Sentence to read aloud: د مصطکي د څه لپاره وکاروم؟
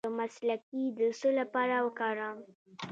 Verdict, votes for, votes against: rejected, 1, 2